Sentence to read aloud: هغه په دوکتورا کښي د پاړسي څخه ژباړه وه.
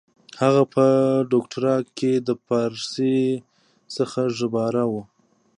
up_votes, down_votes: 0, 2